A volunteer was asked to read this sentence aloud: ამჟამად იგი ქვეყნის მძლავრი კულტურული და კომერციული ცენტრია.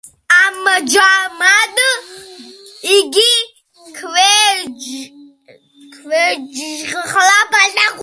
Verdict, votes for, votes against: rejected, 0, 2